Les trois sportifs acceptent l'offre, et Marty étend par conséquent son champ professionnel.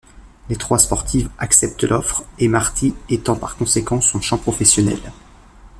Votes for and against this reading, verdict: 2, 0, accepted